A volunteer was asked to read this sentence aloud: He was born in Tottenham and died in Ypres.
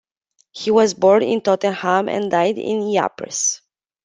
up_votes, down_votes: 2, 1